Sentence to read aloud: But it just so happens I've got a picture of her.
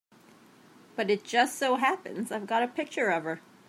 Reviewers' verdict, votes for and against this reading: accepted, 2, 0